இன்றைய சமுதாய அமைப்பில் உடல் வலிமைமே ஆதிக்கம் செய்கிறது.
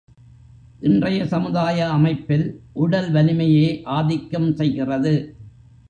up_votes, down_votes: 0, 2